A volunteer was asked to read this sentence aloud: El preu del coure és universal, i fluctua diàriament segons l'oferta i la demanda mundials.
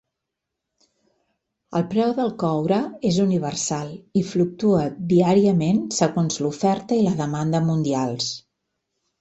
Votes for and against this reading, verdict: 3, 0, accepted